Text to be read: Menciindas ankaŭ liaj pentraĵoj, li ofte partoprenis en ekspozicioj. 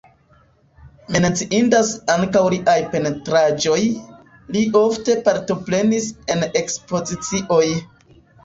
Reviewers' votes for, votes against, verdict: 1, 2, rejected